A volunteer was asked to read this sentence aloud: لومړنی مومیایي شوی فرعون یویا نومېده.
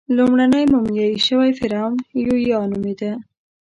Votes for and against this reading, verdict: 0, 2, rejected